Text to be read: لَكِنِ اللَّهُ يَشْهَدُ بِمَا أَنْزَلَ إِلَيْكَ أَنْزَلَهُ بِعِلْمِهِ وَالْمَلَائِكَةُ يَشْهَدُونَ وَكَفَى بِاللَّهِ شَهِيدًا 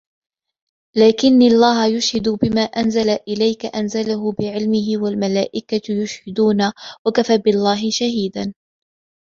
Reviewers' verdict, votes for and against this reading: accepted, 2, 1